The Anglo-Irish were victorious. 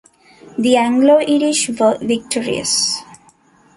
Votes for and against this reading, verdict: 1, 2, rejected